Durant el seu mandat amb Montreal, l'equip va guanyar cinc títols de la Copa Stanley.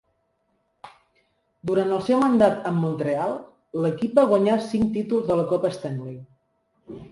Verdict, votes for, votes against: accepted, 3, 0